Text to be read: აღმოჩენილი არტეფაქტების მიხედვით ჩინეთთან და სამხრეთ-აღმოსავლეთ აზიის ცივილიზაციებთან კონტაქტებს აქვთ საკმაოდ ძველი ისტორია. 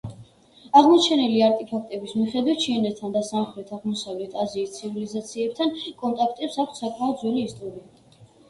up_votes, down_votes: 2, 1